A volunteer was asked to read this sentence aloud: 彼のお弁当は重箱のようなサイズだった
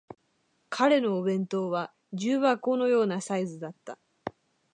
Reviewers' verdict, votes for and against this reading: accepted, 2, 0